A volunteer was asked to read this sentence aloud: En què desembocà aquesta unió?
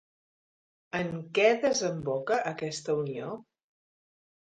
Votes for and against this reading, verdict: 0, 2, rejected